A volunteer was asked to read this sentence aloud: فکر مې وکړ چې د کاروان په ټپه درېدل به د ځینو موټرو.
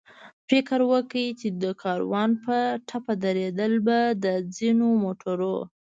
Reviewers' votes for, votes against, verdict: 1, 2, rejected